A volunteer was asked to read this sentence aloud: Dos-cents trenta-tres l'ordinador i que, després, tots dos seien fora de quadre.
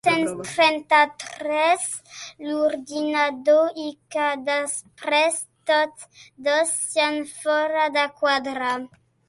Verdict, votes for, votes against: rejected, 1, 2